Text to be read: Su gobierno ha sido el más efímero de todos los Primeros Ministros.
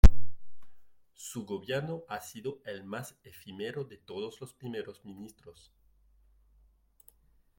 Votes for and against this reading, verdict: 2, 0, accepted